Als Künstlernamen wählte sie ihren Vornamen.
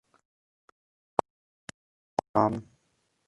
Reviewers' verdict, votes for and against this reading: rejected, 0, 2